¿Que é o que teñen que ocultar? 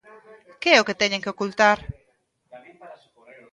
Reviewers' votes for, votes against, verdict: 2, 0, accepted